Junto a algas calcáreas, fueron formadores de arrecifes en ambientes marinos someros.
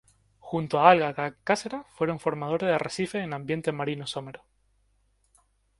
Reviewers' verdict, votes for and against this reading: rejected, 0, 2